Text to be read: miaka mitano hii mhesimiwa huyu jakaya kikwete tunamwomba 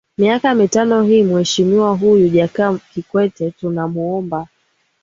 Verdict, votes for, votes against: accepted, 5, 0